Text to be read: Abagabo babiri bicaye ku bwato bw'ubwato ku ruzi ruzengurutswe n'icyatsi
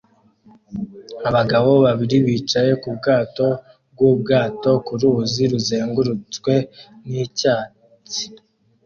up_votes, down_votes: 2, 1